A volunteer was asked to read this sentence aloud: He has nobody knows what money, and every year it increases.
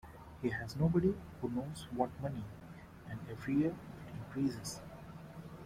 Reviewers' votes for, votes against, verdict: 0, 2, rejected